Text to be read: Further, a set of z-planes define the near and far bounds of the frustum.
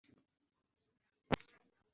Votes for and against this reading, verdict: 0, 2, rejected